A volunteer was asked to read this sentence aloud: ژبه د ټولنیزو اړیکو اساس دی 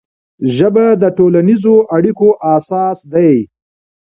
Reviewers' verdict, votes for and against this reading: accepted, 2, 0